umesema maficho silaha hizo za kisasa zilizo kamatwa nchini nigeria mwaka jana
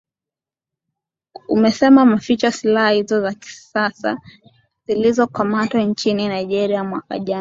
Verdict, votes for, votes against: accepted, 2, 0